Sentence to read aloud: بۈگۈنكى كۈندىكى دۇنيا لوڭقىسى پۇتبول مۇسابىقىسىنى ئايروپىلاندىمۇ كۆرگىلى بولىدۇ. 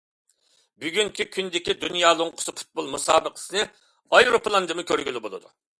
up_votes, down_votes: 2, 0